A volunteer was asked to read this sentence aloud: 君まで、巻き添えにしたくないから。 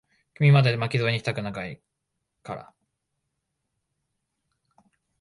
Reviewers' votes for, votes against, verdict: 0, 2, rejected